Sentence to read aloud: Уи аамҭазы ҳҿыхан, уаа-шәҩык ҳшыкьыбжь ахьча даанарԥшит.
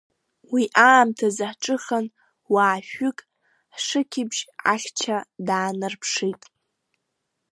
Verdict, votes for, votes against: rejected, 1, 2